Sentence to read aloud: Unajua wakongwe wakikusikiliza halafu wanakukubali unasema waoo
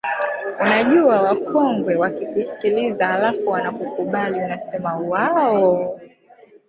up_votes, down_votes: 0, 2